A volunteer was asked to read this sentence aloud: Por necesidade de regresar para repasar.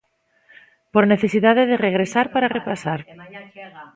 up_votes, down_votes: 2, 1